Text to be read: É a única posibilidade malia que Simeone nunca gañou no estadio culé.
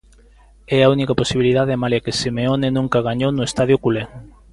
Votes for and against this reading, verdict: 2, 0, accepted